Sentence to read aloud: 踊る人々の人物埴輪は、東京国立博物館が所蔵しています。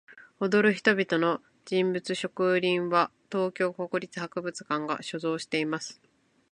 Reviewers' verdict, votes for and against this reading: rejected, 0, 2